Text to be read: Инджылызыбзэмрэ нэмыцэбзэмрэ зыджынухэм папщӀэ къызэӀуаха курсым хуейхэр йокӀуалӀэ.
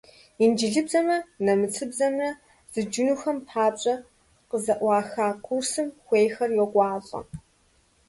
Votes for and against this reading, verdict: 0, 2, rejected